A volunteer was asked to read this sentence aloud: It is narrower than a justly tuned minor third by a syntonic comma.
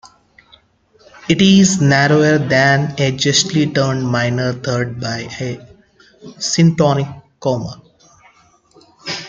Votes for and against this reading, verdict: 1, 2, rejected